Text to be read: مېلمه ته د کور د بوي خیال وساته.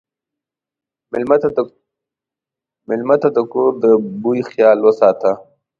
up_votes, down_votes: 1, 2